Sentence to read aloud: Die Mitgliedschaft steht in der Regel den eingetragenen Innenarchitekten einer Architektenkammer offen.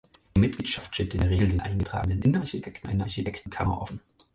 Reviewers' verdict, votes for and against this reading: accepted, 4, 2